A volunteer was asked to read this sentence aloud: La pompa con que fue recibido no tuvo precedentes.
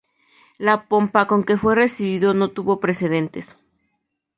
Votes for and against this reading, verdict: 2, 0, accepted